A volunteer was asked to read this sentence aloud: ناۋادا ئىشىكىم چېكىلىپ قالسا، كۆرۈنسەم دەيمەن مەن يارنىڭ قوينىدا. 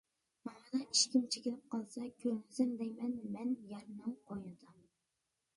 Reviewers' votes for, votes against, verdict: 0, 2, rejected